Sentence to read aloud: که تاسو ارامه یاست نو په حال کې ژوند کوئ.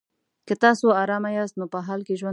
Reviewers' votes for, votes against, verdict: 0, 2, rejected